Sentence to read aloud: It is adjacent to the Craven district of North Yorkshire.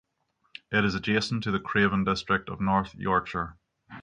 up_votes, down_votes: 6, 0